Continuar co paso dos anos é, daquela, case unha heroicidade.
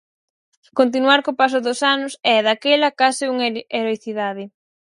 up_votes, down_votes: 2, 4